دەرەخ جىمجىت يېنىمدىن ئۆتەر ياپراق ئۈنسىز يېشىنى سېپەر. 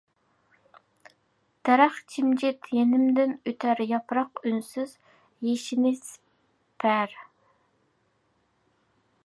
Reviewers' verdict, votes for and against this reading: accepted, 2, 0